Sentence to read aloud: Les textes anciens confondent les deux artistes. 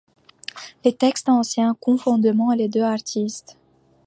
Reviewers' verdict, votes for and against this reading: accepted, 2, 1